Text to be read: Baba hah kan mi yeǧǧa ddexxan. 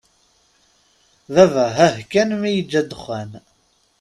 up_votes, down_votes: 3, 0